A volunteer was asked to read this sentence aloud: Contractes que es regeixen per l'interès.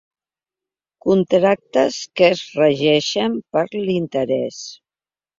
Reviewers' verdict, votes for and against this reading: accepted, 3, 0